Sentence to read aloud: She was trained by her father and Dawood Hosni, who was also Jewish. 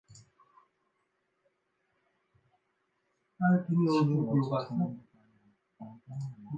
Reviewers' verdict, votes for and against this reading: rejected, 0, 2